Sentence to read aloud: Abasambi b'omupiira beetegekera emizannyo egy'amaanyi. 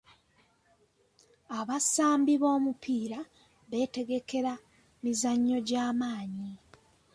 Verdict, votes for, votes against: accepted, 2, 1